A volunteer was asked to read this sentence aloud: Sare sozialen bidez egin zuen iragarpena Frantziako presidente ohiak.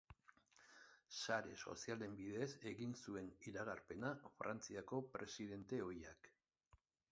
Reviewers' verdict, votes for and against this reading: rejected, 3, 5